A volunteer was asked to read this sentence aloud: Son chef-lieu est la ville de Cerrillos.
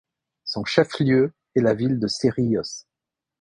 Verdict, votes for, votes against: accepted, 2, 0